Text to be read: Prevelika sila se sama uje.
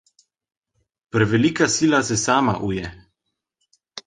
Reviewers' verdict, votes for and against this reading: accepted, 2, 0